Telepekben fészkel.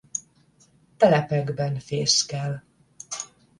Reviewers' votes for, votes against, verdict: 10, 0, accepted